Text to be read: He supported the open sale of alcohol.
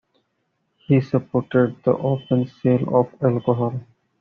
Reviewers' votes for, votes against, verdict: 2, 1, accepted